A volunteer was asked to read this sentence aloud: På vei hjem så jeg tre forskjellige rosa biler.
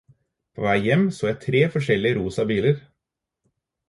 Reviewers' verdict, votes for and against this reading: accepted, 4, 0